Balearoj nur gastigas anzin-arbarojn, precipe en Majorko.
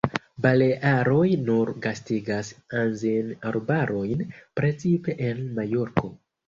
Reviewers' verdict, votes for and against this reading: rejected, 1, 2